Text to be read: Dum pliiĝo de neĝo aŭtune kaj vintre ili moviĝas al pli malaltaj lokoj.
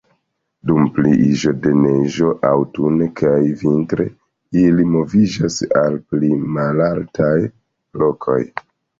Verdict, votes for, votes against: rejected, 1, 2